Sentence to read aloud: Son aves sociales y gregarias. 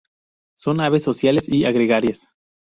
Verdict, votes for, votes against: accepted, 4, 0